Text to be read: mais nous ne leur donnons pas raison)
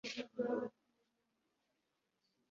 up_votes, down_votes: 1, 2